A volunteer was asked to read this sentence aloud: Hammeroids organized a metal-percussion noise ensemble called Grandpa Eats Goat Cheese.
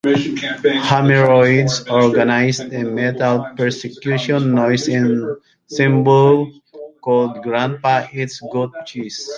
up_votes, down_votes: 0, 2